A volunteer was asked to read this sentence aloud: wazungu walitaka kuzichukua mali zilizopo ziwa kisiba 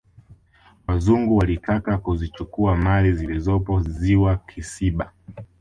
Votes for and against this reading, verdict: 1, 2, rejected